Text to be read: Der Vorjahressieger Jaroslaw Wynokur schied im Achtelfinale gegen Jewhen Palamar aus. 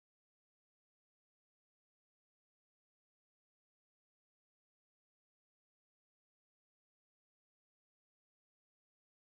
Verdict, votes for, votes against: rejected, 0, 4